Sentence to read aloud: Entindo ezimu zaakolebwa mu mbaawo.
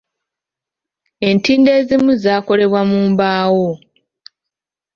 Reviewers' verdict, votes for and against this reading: accepted, 2, 0